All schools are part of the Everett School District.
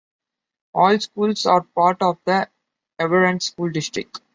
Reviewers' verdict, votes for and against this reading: rejected, 1, 2